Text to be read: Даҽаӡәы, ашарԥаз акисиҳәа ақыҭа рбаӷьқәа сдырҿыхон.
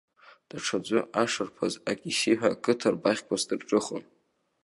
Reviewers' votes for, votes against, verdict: 2, 0, accepted